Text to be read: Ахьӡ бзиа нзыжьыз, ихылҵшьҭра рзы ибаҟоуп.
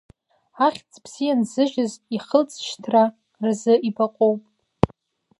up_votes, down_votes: 2, 0